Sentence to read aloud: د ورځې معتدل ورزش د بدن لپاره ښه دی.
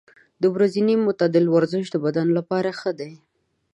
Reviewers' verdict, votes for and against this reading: rejected, 1, 2